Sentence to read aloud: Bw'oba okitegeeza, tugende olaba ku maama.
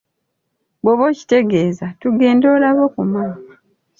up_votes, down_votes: 3, 0